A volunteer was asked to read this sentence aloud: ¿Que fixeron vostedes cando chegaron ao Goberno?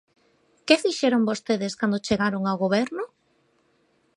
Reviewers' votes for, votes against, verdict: 2, 0, accepted